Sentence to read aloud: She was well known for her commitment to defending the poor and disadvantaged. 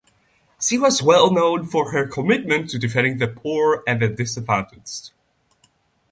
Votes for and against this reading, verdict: 0, 2, rejected